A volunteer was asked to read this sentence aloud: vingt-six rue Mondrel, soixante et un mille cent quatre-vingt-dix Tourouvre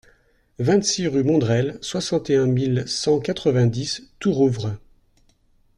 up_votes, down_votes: 2, 0